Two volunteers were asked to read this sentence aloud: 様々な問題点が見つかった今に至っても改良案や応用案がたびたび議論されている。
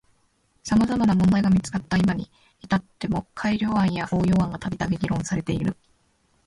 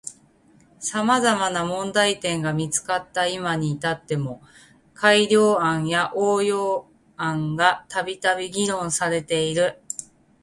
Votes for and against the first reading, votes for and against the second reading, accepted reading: 1, 2, 2, 0, second